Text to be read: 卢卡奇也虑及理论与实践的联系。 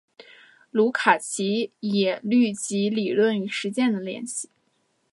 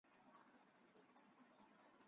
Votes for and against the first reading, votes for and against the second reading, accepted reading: 2, 0, 0, 2, first